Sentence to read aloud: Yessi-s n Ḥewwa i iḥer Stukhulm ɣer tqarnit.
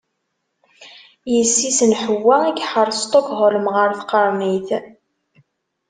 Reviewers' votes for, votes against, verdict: 1, 2, rejected